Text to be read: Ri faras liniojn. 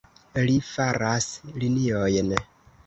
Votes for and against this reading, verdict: 2, 0, accepted